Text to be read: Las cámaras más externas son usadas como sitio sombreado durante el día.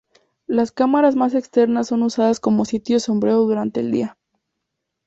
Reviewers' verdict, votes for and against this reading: accepted, 2, 0